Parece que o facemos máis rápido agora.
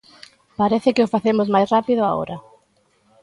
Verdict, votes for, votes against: accepted, 2, 1